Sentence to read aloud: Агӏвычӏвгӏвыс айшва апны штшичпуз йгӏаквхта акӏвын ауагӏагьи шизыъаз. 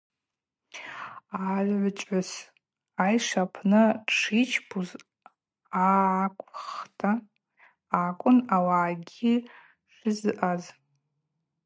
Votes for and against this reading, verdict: 0, 2, rejected